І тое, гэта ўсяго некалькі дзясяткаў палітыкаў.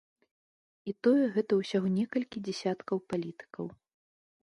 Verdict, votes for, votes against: accepted, 2, 0